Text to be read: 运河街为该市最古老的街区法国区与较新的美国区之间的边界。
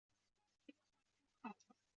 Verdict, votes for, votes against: rejected, 0, 2